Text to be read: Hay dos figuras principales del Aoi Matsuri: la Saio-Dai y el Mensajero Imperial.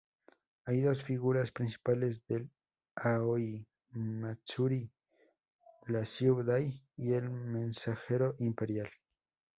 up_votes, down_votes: 0, 2